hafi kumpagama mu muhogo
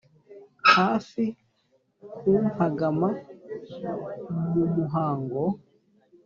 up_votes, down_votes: 1, 2